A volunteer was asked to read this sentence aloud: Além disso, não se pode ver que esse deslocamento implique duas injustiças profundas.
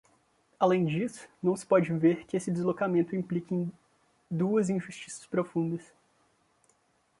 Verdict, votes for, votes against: rejected, 0, 2